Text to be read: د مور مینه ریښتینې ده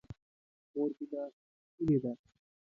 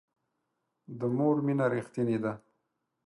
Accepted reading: second